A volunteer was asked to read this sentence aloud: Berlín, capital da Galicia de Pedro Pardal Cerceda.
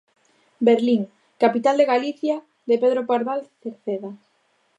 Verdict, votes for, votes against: rejected, 0, 2